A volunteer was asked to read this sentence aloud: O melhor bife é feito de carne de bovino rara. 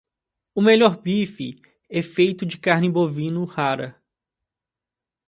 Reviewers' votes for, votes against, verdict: 1, 2, rejected